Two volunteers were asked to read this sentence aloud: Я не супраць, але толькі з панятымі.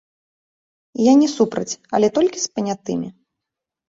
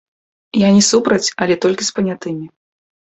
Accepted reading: first